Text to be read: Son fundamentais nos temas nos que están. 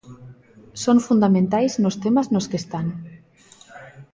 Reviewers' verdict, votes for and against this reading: accepted, 2, 0